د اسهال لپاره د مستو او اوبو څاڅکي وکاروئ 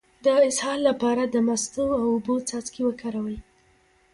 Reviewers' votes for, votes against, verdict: 0, 2, rejected